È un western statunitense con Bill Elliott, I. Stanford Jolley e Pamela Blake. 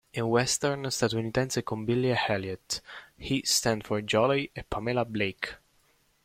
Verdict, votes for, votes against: rejected, 1, 2